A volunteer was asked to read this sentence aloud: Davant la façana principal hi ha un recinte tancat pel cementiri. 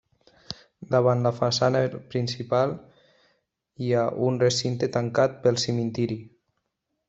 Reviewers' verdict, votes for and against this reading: accepted, 3, 0